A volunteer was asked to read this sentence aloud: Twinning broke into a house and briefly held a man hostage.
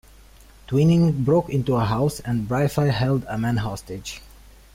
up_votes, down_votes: 1, 2